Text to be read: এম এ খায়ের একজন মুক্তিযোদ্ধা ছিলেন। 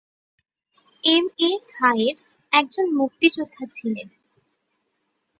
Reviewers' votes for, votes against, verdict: 4, 0, accepted